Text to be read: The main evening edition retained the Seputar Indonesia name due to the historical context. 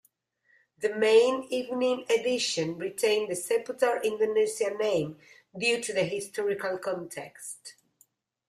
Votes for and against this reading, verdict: 1, 2, rejected